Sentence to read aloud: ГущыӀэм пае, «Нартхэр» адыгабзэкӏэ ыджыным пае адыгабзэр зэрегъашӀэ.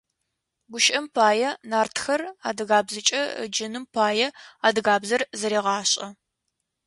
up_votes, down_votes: 2, 0